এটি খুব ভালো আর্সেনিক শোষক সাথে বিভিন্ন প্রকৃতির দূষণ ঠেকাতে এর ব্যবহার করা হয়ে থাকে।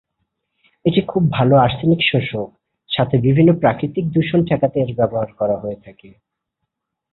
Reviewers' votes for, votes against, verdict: 0, 3, rejected